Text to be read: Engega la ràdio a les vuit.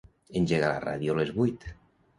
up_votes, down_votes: 2, 0